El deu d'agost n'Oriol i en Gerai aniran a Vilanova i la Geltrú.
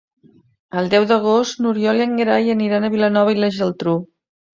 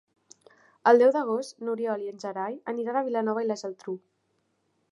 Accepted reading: second